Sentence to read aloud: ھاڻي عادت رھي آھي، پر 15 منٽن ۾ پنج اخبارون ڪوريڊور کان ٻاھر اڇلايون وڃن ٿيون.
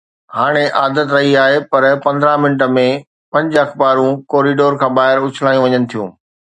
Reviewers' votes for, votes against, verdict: 0, 2, rejected